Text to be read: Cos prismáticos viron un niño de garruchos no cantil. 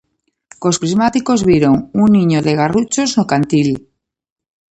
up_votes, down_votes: 2, 0